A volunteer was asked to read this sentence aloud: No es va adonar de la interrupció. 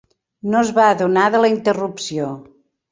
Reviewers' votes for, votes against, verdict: 3, 0, accepted